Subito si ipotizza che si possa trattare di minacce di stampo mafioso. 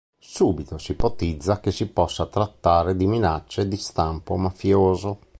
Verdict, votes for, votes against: accepted, 2, 0